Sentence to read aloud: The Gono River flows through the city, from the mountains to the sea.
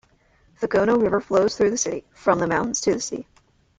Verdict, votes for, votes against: accepted, 2, 0